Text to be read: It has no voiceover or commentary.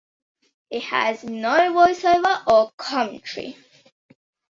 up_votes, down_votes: 2, 0